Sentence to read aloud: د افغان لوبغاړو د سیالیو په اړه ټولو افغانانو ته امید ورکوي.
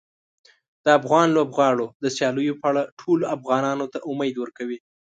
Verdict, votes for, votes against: accepted, 2, 0